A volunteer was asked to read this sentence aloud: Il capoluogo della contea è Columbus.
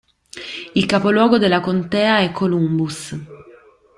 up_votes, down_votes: 2, 0